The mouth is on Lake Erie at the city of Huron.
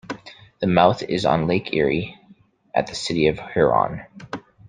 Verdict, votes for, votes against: accepted, 2, 0